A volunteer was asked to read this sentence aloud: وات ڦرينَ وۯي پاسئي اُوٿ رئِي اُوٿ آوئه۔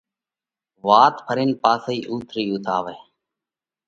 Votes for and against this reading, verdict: 2, 0, accepted